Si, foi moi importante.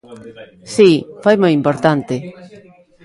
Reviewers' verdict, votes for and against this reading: rejected, 1, 2